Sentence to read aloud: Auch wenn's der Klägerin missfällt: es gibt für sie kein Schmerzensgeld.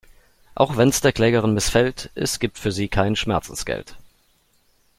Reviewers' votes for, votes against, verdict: 2, 0, accepted